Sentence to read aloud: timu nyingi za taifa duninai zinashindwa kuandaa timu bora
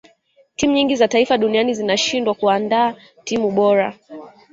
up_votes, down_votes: 2, 0